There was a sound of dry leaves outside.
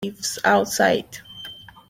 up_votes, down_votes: 0, 2